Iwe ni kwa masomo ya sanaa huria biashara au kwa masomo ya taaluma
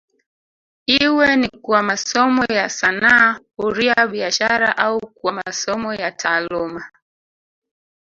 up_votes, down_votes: 2, 0